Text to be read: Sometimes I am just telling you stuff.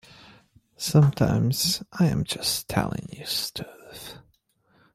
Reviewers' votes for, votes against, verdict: 2, 0, accepted